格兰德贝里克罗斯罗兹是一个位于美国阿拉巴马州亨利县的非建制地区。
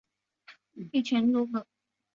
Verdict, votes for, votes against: rejected, 0, 4